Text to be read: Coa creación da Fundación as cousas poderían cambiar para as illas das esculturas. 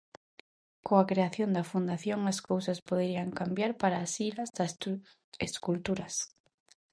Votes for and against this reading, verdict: 0, 2, rejected